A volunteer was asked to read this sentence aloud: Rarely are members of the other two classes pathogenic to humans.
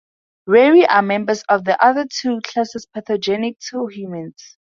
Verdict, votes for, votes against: rejected, 0, 2